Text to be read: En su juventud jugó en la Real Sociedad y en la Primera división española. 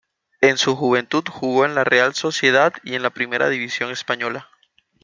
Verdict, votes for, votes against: accepted, 2, 0